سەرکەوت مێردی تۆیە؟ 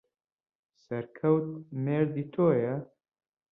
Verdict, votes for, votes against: rejected, 1, 2